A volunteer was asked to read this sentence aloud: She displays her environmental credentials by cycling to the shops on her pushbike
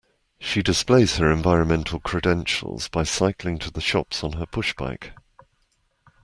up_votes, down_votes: 2, 0